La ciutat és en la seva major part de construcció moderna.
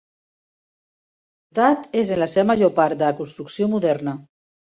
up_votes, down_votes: 1, 2